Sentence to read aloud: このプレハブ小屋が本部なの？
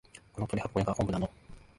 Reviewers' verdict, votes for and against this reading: rejected, 0, 2